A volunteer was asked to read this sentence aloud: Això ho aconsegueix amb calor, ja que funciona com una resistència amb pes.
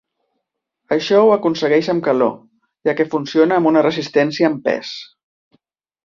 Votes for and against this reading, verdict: 1, 2, rejected